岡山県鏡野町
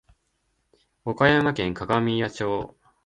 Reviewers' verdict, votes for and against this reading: rejected, 1, 2